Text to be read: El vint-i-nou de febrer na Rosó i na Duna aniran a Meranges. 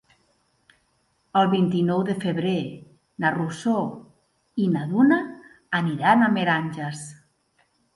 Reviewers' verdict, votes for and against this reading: rejected, 0, 2